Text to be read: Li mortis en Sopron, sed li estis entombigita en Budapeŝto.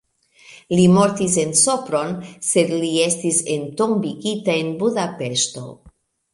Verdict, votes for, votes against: accepted, 2, 0